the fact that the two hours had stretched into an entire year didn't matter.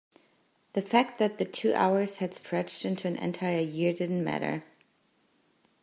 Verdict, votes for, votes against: accepted, 2, 0